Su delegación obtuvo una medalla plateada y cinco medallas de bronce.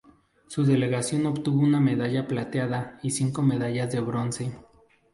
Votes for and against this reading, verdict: 4, 0, accepted